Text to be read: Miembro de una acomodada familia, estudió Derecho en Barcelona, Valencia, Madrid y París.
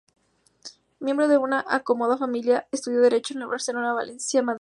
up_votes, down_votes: 0, 4